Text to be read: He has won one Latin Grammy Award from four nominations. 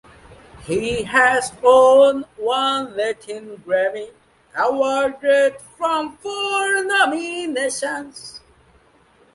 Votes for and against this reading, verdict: 0, 2, rejected